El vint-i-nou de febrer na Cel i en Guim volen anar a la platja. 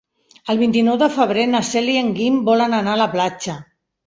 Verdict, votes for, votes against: accepted, 3, 0